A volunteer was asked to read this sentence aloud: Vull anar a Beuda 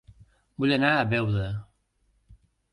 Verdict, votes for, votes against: accepted, 2, 0